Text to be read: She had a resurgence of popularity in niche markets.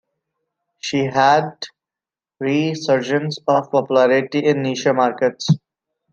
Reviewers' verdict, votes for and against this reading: rejected, 0, 2